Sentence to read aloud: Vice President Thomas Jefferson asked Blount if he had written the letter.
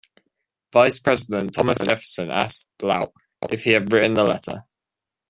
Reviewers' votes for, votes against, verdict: 1, 2, rejected